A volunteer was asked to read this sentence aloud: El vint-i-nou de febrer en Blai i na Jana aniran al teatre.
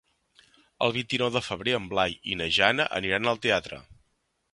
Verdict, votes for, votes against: accepted, 3, 0